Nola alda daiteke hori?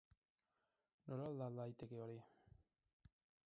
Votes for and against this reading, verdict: 0, 4, rejected